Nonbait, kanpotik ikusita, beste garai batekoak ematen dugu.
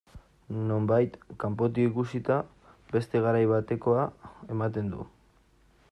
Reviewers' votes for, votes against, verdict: 0, 2, rejected